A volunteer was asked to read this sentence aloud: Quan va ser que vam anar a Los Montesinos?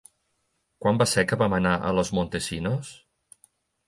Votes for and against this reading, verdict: 2, 0, accepted